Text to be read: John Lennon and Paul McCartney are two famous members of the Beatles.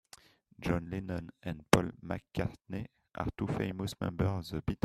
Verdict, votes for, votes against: rejected, 0, 2